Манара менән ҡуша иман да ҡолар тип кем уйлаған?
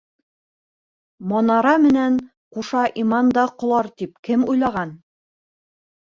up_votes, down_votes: 1, 2